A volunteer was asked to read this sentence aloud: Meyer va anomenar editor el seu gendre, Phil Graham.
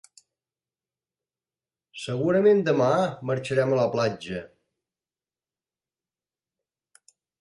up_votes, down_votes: 0, 2